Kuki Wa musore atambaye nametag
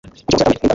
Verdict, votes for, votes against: rejected, 1, 2